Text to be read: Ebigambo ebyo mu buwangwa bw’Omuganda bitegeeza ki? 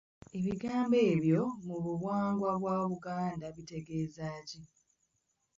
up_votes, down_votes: 0, 2